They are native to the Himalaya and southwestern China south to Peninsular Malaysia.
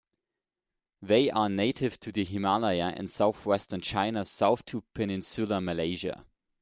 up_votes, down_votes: 0, 2